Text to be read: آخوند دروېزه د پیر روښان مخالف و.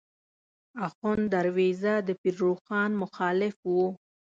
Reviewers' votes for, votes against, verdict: 2, 0, accepted